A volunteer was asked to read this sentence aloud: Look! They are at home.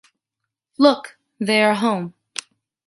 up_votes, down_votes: 0, 2